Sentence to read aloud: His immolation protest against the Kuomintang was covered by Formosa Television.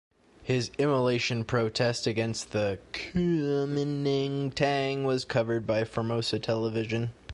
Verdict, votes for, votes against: rejected, 0, 2